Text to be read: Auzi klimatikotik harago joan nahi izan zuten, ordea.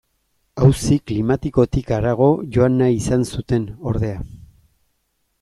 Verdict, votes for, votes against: accepted, 2, 0